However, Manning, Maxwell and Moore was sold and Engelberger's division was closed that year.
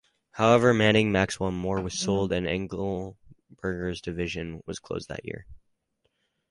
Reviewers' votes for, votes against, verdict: 0, 2, rejected